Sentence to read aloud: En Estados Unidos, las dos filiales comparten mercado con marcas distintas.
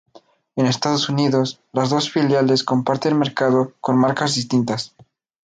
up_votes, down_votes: 2, 0